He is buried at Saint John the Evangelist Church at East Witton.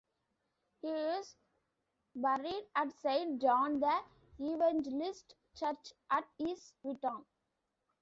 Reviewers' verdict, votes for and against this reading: rejected, 0, 2